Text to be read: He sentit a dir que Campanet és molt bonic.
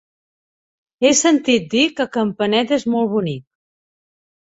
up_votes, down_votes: 0, 2